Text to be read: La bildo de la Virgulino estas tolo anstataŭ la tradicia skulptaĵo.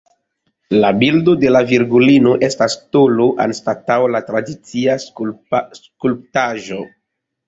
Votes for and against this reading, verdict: 0, 2, rejected